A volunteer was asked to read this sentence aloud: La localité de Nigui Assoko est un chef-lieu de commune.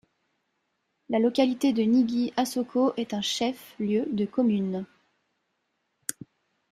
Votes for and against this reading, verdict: 1, 2, rejected